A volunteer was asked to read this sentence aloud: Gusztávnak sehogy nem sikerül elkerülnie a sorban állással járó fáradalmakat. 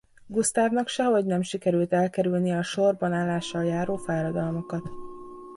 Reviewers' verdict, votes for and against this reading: accepted, 2, 1